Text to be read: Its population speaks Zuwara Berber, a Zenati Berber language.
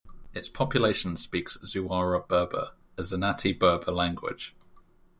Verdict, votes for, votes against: accepted, 2, 0